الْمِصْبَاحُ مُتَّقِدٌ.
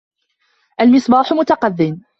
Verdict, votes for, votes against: accepted, 2, 0